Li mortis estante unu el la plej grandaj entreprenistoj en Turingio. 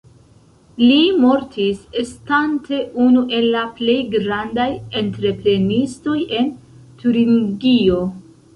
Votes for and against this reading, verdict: 1, 2, rejected